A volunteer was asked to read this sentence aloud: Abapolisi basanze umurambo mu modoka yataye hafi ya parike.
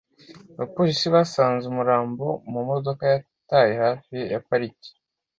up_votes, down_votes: 2, 0